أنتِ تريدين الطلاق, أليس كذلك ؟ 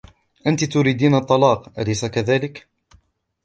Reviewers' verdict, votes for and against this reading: rejected, 1, 2